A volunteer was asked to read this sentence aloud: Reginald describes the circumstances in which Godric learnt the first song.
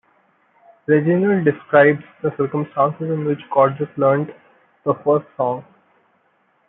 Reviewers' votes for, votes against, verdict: 2, 0, accepted